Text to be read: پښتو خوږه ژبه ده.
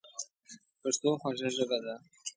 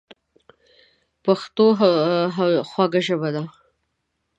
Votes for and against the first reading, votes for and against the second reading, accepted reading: 2, 0, 1, 2, first